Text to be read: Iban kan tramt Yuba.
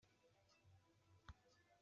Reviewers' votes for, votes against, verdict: 1, 2, rejected